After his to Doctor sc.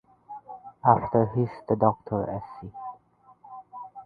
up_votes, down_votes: 2, 1